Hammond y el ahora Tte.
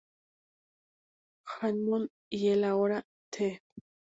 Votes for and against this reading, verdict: 0, 4, rejected